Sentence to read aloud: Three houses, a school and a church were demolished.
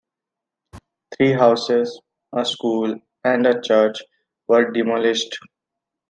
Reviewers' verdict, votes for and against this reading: accepted, 3, 1